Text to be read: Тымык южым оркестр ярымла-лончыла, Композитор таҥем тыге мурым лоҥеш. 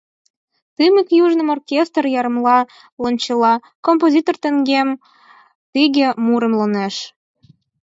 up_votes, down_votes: 2, 4